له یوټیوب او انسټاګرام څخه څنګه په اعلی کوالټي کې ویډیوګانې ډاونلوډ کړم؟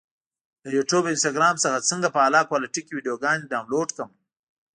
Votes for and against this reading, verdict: 2, 0, accepted